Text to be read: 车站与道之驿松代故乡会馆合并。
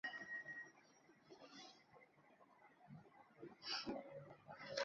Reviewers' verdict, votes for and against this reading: rejected, 0, 2